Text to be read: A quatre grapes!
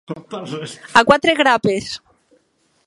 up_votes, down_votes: 0, 2